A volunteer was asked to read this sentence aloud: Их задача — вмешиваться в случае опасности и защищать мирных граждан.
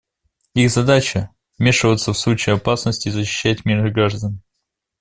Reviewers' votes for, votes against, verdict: 2, 0, accepted